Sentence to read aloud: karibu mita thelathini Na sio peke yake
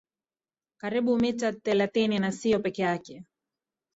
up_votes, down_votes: 0, 2